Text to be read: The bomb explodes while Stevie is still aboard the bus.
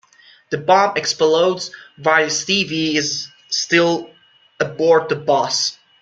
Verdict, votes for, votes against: accepted, 2, 0